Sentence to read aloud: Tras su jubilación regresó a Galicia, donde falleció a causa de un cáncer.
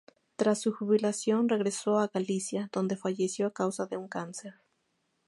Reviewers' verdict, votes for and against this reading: accepted, 2, 0